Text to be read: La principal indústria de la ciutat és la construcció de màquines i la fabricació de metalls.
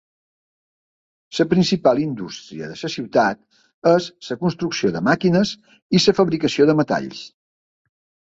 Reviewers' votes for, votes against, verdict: 0, 2, rejected